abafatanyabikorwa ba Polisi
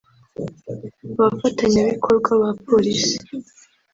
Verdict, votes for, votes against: accepted, 2, 0